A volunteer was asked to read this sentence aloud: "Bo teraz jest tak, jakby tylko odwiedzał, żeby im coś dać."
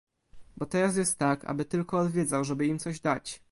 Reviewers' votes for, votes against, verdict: 0, 2, rejected